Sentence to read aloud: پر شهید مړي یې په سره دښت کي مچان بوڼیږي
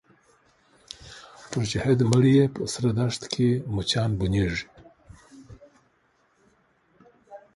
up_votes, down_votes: 2, 1